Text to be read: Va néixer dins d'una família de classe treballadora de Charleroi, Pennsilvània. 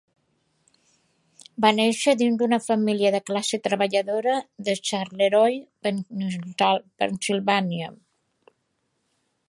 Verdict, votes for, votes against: accepted, 2, 1